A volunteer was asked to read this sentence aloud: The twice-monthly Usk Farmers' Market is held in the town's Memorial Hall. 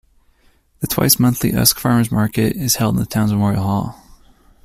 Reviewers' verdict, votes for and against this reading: rejected, 1, 2